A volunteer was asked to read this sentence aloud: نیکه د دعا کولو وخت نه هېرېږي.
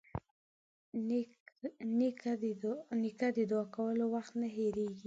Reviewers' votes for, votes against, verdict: 6, 3, accepted